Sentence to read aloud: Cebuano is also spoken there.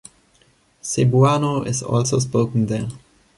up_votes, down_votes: 2, 0